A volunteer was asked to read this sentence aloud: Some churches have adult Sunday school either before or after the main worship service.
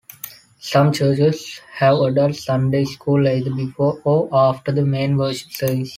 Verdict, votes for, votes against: accepted, 2, 0